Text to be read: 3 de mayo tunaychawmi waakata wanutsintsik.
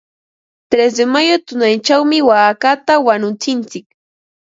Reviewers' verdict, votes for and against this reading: rejected, 0, 2